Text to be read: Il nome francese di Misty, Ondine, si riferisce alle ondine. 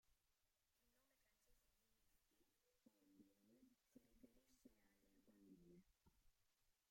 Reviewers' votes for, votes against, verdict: 0, 2, rejected